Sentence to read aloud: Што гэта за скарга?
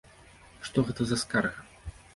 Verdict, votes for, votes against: accepted, 2, 0